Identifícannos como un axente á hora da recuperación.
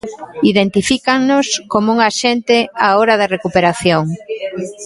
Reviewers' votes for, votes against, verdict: 1, 2, rejected